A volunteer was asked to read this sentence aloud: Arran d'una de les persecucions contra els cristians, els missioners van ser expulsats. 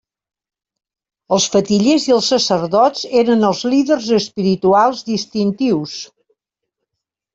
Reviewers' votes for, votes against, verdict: 0, 2, rejected